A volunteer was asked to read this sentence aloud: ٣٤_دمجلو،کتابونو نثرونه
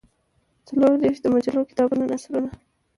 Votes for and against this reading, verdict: 0, 2, rejected